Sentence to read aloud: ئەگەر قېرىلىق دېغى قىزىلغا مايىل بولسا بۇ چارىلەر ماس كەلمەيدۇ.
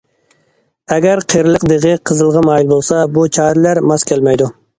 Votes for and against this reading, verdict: 2, 0, accepted